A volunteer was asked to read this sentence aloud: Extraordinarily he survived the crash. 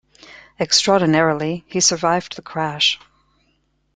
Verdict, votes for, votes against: accepted, 2, 0